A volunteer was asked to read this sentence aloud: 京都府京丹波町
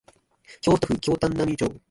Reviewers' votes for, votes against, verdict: 1, 3, rejected